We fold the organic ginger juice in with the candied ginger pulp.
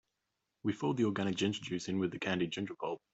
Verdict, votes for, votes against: accepted, 2, 0